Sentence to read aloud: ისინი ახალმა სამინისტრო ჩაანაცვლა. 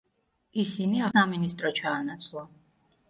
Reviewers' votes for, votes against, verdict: 0, 2, rejected